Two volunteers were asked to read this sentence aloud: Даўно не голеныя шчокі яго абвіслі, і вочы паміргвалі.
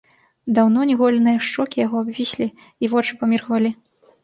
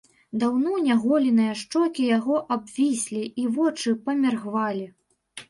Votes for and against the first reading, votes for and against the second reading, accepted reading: 2, 0, 1, 2, first